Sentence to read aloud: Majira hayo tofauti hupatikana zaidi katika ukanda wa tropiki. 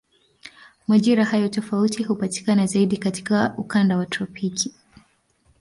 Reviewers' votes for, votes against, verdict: 2, 0, accepted